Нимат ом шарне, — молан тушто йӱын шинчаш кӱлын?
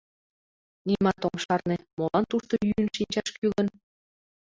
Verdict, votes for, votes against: rejected, 0, 2